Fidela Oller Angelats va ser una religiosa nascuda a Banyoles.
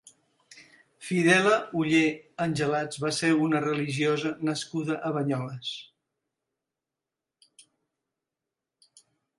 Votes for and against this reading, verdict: 2, 0, accepted